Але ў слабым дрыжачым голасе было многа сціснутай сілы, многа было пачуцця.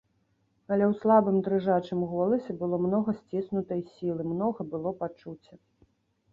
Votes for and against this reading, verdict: 2, 0, accepted